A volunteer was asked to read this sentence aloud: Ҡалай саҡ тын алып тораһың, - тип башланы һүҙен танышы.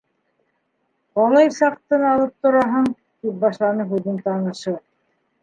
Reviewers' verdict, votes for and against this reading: rejected, 1, 2